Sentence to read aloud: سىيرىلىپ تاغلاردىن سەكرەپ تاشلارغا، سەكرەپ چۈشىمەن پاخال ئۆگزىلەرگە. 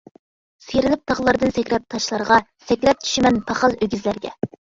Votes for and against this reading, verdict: 1, 2, rejected